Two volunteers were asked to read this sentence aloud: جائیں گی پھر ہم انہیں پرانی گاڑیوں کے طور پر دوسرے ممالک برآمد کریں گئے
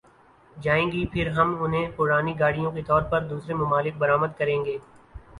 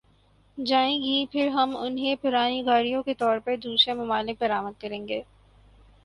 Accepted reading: second